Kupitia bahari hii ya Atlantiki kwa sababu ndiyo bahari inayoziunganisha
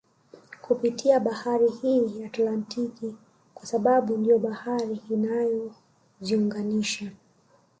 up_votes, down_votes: 0, 2